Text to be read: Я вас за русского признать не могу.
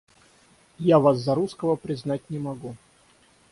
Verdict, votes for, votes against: rejected, 3, 3